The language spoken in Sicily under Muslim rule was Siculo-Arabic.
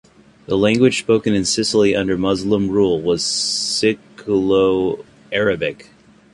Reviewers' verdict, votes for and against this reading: accepted, 2, 1